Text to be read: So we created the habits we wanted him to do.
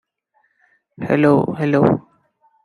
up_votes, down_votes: 0, 2